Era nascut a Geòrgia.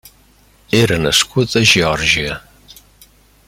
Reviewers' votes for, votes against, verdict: 3, 0, accepted